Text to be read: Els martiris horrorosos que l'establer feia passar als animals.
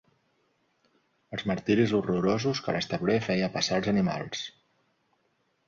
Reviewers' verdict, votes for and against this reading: accepted, 2, 0